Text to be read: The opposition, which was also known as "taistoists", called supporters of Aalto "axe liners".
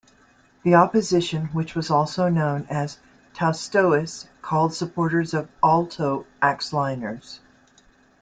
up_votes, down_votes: 2, 0